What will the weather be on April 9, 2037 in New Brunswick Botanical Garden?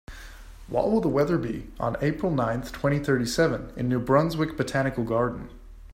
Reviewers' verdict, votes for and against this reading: rejected, 0, 2